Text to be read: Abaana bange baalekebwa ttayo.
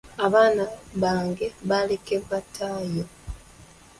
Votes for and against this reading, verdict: 0, 2, rejected